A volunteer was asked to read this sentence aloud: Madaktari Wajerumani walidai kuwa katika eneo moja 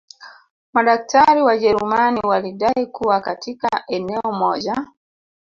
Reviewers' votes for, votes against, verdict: 1, 2, rejected